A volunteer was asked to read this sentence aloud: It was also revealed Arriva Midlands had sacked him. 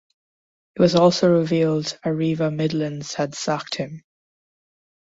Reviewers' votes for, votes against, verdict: 2, 0, accepted